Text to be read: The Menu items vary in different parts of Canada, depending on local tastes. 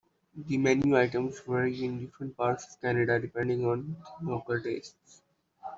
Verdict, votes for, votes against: accepted, 2, 0